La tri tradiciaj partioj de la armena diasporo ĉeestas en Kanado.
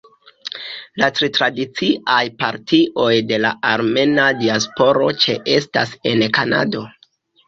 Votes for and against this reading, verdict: 2, 0, accepted